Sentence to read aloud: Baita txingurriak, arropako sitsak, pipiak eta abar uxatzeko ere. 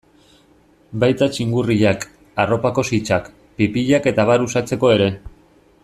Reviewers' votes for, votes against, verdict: 2, 0, accepted